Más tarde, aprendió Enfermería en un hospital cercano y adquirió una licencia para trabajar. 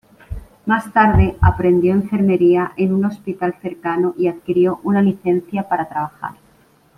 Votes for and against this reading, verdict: 2, 0, accepted